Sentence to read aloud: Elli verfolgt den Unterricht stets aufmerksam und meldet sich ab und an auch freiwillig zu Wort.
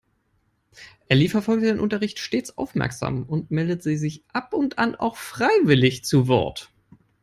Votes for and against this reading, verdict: 0, 3, rejected